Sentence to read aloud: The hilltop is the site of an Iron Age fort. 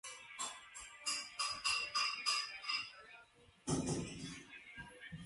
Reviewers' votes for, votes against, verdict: 0, 2, rejected